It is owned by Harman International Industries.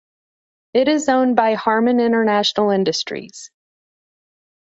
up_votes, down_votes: 2, 0